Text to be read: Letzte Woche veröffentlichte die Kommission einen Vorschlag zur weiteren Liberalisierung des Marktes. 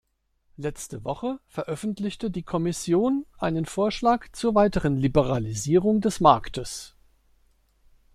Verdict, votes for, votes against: accepted, 2, 0